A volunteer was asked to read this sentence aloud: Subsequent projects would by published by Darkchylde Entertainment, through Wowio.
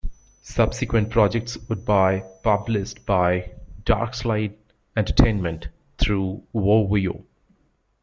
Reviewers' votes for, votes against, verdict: 0, 2, rejected